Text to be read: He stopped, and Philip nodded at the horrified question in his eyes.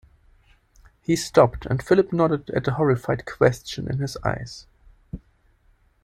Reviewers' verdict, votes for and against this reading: accepted, 2, 0